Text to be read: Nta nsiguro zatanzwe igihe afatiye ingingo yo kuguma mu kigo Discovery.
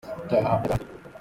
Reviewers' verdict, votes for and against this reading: rejected, 0, 2